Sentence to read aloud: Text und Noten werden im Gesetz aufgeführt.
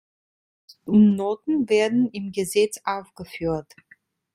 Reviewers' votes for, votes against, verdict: 0, 2, rejected